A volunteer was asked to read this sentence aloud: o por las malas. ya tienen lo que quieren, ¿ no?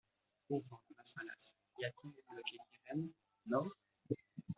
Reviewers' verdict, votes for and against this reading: rejected, 1, 2